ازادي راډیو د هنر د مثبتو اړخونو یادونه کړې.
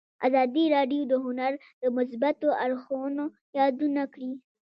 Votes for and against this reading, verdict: 2, 0, accepted